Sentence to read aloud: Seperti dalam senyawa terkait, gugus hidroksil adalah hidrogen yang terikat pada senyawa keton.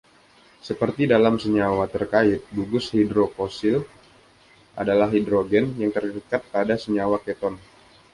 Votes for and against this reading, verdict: 2, 1, accepted